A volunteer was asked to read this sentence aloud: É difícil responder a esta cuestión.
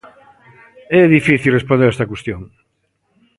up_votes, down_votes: 2, 0